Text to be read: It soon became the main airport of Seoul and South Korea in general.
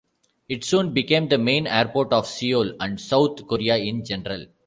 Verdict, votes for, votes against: rejected, 1, 2